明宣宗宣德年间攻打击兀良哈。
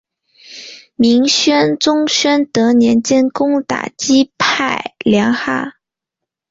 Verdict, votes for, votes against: rejected, 2, 3